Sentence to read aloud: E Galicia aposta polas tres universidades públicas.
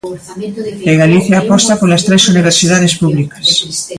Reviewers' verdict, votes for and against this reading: rejected, 1, 2